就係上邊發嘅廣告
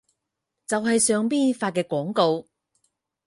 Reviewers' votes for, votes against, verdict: 0, 4, rejected